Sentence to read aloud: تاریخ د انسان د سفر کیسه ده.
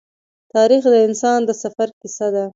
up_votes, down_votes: 2, 0